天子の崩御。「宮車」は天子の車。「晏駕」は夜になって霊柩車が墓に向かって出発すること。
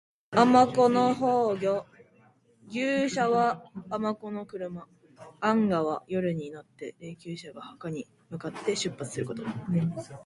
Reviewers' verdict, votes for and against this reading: accepted, 2, 1